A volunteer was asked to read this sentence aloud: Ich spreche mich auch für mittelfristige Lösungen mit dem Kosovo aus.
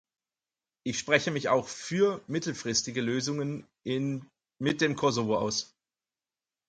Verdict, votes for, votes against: rejected, 0, 4